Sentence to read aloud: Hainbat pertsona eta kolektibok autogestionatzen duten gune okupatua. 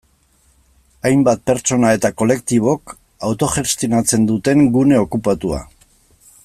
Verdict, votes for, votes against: accepted, 2, 0